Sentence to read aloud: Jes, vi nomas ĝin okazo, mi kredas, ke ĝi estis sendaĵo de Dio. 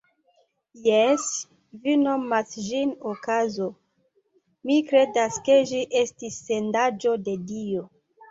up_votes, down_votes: 2, 1